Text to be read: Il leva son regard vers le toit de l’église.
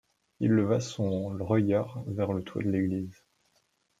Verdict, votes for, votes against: rejected, 1, 2